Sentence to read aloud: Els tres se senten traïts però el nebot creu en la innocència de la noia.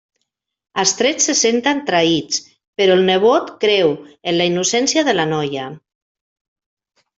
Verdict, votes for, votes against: rejected, 0, 2